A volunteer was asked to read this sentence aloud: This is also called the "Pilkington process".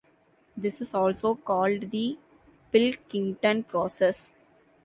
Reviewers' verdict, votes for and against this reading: accepted, 3, 1